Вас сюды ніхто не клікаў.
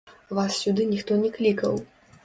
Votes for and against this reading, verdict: 0, 2, rejected